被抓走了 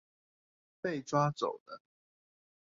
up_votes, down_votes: 2, 0